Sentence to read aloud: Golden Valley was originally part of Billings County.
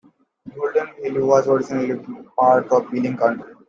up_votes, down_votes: 1, 2